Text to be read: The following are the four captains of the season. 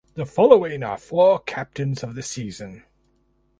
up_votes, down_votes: 0, 4